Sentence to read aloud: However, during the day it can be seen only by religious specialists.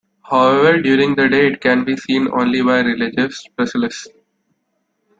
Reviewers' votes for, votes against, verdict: 1, 2, rejected